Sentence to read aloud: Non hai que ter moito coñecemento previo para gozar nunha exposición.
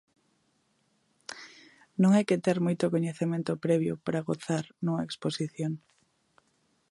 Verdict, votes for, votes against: accepted, 2, 0